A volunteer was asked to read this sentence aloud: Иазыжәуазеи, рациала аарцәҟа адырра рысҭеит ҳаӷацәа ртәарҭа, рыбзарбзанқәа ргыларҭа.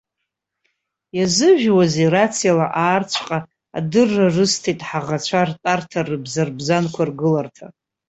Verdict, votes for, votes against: accepted, 2, 0